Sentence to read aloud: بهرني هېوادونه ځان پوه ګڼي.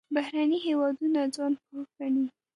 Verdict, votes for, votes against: accepted, 2, 1